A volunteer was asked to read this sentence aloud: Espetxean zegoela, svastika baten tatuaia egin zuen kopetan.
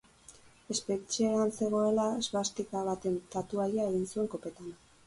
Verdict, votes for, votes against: accepted, 6, 0